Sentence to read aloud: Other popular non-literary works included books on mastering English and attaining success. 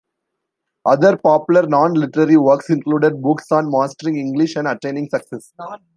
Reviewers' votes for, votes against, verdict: 1, 2, rejected